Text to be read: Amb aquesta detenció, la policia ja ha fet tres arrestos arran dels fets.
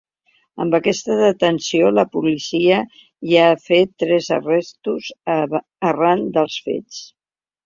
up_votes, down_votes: 1, 2